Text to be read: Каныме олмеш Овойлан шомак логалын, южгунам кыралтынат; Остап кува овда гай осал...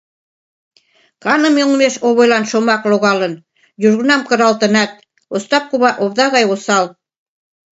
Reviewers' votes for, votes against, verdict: 2, 0, accepted